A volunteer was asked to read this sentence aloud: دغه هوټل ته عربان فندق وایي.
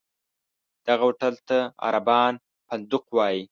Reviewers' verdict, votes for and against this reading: accepted, 2, 0